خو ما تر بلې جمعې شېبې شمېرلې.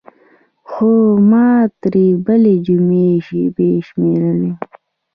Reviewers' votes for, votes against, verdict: 1, 2, rejected